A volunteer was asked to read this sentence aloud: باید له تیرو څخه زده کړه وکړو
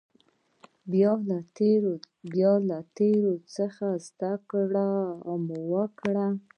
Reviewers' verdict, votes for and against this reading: rejected, 1, 2